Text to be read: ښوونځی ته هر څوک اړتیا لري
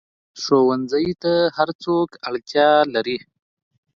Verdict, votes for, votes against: accepted, 2, 0